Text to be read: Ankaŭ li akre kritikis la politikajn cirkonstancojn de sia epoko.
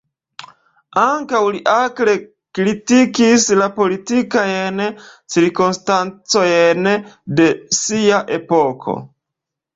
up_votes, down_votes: 0, 2